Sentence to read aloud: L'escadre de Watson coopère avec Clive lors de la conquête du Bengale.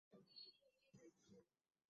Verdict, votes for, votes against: rejected, 0, 2